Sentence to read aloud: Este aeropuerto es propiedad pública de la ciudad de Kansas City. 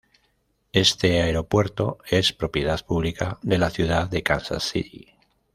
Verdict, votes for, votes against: rejected, 0, 2